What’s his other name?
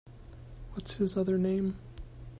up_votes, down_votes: 2, 0